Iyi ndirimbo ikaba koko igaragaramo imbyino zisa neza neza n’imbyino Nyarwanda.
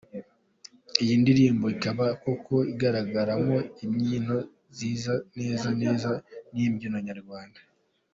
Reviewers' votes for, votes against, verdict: 2, 0, accepted